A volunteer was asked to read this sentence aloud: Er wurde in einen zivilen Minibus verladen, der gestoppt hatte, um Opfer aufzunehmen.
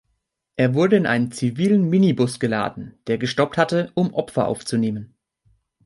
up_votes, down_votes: 2, 2